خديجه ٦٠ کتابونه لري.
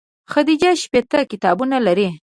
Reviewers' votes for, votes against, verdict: 0, 2, rejected